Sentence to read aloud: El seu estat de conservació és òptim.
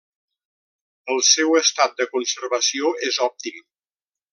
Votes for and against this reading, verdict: 3, 0, accepted